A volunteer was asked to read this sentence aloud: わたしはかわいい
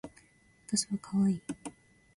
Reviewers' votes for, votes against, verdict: 0, 2, rejected